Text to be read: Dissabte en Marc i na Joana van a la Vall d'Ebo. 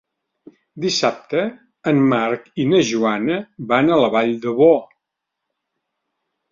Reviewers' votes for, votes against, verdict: 2, 1, accepted